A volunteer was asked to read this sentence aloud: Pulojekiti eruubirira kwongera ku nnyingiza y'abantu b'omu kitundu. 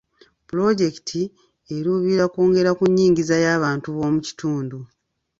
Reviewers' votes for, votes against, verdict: 3, 0, accepted